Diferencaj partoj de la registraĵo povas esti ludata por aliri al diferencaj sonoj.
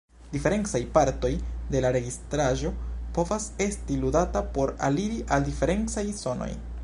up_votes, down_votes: 2, 0